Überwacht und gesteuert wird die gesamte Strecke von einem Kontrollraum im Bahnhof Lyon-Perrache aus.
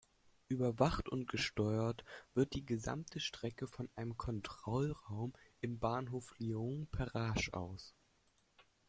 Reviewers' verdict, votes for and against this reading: accepted, 2, 0